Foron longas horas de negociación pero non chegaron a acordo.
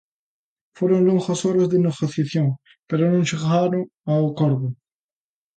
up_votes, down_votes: 1, 2